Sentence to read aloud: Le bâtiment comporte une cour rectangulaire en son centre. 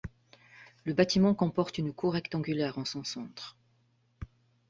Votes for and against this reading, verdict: 3, 0, accepted